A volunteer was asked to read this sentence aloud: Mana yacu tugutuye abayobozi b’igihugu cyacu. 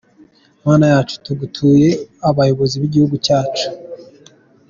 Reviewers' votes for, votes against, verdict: 2, 0, accepted